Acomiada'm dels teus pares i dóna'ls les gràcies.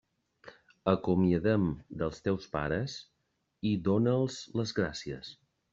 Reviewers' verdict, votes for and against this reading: rejected, 0, 2